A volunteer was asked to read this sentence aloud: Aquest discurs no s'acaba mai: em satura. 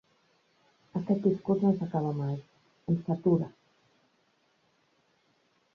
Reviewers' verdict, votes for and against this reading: rejected, 1, 2